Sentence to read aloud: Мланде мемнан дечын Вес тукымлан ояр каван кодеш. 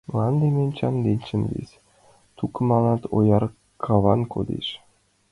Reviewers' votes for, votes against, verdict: 1, 2, rejected